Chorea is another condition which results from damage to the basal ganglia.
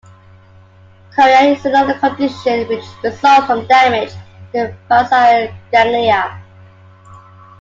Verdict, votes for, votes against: rejected, 0, 2